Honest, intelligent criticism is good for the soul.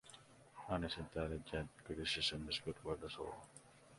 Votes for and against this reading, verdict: 2, 0, accepted